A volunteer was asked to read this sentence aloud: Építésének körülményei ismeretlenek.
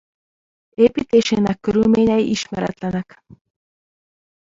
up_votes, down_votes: 1, 2